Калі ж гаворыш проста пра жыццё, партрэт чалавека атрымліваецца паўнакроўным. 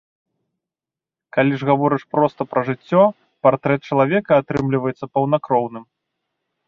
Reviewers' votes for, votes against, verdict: 2, 0, accepted